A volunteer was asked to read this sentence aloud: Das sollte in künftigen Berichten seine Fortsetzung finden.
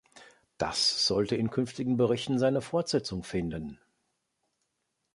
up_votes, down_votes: 2, 0